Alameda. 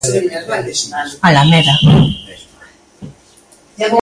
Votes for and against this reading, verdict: 1, 2, rejected